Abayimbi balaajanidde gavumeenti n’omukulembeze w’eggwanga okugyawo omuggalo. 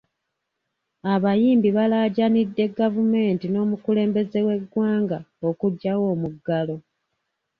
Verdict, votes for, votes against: accepted, 2, 0